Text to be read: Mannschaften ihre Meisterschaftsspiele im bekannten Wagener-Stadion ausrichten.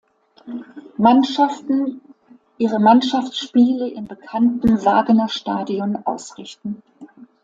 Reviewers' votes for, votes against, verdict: 0, 2, rejected